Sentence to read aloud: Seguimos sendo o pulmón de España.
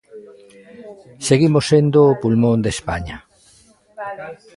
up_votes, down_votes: 0, 2